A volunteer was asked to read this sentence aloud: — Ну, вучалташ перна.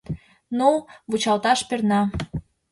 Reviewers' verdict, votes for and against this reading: accepted, 2, 0